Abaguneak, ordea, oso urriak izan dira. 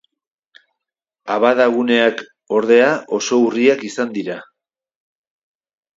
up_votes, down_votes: 0, 2